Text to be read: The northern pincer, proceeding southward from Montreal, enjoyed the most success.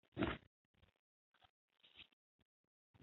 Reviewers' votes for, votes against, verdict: 0, 2, rejected